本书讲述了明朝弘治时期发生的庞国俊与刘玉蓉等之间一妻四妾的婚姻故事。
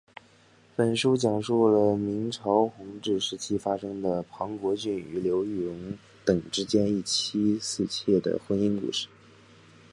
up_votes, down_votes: 1, 2